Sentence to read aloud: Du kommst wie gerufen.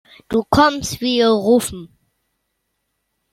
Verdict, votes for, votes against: rejected, 2, 3